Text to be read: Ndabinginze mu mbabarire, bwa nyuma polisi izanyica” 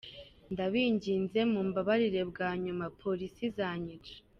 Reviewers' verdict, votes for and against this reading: rejected, 1, 2